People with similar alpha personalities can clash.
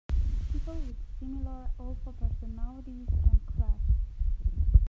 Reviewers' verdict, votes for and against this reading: rejected, 1, 2